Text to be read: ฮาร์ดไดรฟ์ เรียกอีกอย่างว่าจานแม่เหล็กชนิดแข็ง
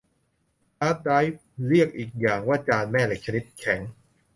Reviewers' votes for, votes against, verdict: 2, 0, accepted